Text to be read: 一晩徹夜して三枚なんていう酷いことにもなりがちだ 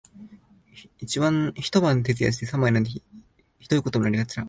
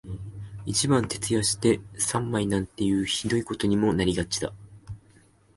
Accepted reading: first